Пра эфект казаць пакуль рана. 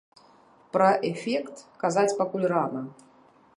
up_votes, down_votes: 2, 0